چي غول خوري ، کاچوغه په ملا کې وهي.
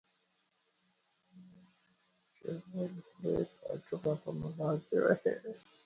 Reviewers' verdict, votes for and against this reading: rejected, 1, 2